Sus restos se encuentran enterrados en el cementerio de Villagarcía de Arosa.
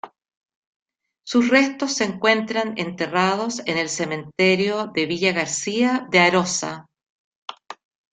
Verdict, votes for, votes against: accepted, 2, 0